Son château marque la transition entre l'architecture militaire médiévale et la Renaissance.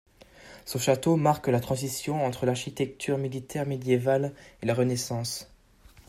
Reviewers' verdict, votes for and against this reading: accepted, 2, 0